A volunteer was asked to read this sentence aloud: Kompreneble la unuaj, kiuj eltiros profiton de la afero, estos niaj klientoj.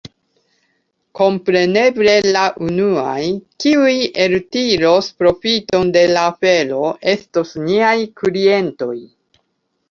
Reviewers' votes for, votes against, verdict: 2, 0, accepted